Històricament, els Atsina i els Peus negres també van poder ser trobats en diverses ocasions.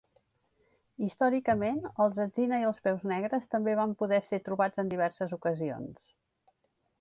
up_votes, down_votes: 4, 0